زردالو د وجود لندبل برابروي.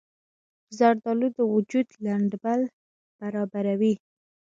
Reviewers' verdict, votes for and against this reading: rejected, 0, 2